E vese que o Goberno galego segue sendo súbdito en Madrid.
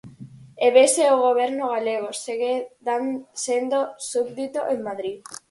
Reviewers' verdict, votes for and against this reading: rejected, 0, 4